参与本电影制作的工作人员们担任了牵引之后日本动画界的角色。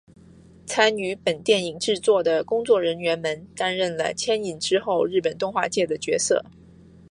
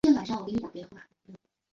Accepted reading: first